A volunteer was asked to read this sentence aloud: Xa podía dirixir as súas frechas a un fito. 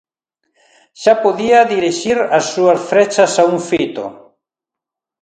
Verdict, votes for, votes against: accepted, 2, 0